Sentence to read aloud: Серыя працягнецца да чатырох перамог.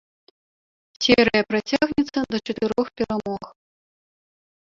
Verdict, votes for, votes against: rejected, 0, 2